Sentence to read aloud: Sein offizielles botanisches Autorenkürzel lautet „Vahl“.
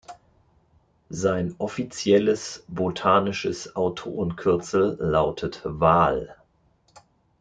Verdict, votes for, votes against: rejected, 1, 2